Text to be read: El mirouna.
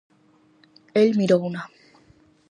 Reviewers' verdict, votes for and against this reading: accepted, 4, 0